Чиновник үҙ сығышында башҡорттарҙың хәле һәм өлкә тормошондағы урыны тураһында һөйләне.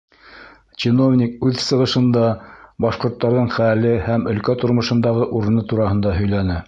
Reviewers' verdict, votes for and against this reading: accepted, 2, 0